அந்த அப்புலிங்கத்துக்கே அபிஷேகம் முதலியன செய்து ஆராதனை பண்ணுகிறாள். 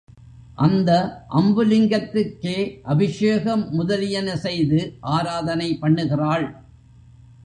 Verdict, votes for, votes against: rejected, 0, 2